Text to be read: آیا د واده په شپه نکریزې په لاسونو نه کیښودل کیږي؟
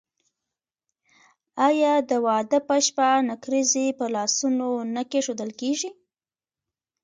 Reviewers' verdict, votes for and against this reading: accepted, 2, 1